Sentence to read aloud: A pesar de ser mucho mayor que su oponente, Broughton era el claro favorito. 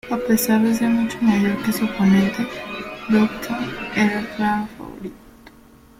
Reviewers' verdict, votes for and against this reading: rejected, 0, 3